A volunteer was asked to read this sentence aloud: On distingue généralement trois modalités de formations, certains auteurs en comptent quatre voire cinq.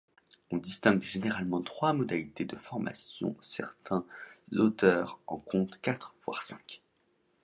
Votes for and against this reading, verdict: 2, 0, accepted